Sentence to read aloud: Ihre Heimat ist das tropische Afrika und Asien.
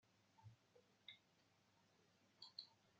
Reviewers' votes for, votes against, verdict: 0, 2, rejected